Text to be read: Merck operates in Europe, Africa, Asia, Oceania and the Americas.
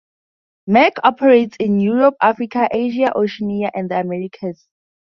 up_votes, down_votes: 4, 0